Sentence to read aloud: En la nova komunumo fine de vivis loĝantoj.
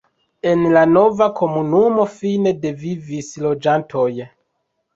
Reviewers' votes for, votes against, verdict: 1, 2, rejected